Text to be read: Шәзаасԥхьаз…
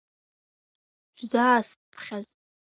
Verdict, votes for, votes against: rejected, 3, 5